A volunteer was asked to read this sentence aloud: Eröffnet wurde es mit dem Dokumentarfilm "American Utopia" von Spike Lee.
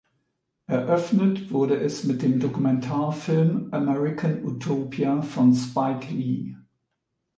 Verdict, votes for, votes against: accepted, 2, 0